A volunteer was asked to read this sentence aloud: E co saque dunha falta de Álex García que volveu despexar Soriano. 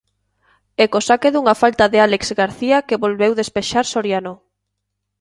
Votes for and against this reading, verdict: 2, 0, accepted